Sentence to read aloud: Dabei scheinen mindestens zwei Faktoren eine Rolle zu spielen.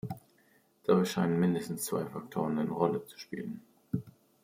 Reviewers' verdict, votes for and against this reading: accepted, 2, 0